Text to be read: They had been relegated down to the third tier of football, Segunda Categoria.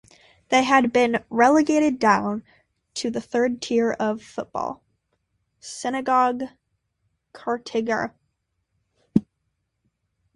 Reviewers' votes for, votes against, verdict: 0, 2, rejected